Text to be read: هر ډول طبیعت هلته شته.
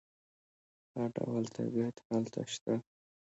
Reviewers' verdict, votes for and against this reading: rejected, 0, 2